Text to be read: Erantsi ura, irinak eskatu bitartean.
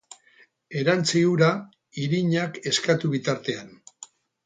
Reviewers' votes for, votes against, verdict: 8, 0, accepted